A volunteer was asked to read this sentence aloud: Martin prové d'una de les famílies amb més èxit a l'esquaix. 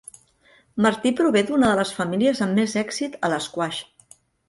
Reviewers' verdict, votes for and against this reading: rejected, 1, 2